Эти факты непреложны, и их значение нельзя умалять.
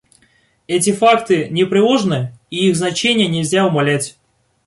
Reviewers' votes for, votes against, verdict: 2, 0, accepted